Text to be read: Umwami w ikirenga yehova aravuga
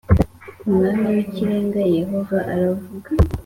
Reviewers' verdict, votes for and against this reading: accepted, 2, 0